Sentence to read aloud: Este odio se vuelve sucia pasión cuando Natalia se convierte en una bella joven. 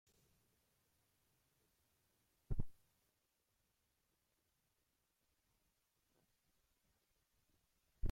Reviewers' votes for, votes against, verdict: 0, 2, rejected